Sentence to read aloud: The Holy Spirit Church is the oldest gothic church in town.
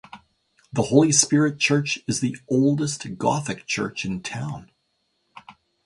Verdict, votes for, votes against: accepted, 2, 0